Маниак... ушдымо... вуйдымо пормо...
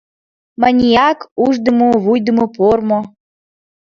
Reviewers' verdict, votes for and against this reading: accepted, 2, 0